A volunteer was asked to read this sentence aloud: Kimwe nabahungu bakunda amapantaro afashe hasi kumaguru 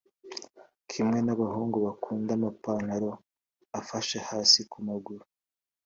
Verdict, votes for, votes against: accepted, 2, 0